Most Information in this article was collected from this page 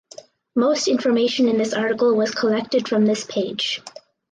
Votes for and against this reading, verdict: 4, 0, accepted